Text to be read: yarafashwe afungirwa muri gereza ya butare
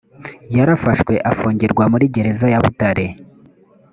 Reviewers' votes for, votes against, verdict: 2, 0, accepted